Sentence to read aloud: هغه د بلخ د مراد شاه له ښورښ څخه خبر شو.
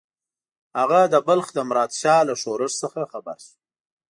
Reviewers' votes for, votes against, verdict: 2, 0, accepted